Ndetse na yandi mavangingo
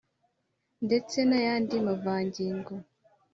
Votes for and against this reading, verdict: 2, 0, accepted